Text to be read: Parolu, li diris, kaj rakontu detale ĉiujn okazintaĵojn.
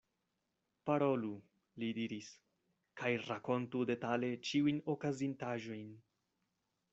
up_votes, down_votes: 2, 0